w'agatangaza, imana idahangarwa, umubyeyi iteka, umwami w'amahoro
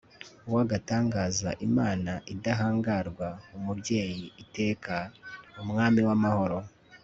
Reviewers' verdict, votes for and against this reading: accepted, 2, 0